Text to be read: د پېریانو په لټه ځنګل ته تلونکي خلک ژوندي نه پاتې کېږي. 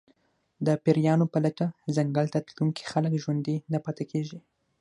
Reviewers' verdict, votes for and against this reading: accepted, 6, 0